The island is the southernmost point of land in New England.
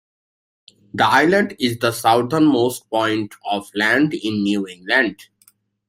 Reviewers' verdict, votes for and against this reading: accepted, 2, 0